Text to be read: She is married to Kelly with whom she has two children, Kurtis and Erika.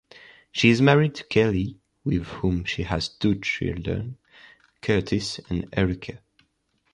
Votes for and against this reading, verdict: 2, 0, accepted